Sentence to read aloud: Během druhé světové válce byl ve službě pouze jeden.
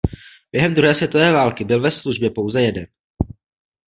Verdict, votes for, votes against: rejected, 1, 2